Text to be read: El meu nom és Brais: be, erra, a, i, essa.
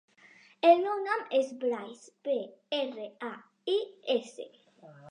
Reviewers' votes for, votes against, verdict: 1, 2, rejected